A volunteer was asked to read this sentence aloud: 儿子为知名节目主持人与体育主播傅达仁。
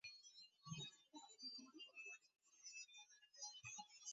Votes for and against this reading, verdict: 2, 3, rejected